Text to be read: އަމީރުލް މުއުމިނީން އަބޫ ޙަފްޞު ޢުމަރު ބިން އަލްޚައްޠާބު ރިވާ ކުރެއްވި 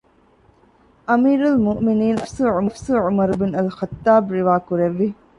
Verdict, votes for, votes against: rejected, 0, 2